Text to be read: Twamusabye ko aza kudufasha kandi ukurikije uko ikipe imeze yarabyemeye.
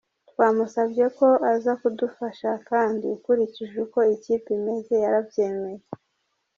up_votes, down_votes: 1, 2